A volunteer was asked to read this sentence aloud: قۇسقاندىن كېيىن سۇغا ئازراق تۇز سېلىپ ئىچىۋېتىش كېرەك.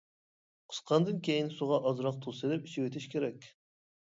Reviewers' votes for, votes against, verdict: 2, 0, accepted